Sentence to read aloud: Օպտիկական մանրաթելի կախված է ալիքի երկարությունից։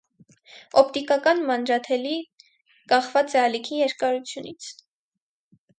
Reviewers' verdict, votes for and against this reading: accepted, 4, 0